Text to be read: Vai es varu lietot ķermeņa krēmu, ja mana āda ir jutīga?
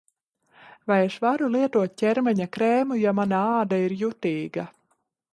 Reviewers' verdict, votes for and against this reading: accepted, 3, 0